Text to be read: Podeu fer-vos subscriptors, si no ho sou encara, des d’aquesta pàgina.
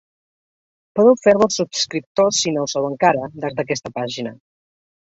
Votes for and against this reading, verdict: 0, 2, rejected